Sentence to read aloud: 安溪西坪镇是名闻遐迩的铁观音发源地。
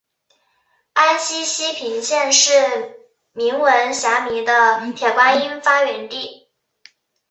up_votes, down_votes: 2, 0